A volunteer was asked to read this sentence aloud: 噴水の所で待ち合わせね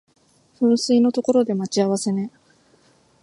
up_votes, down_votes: 2, 1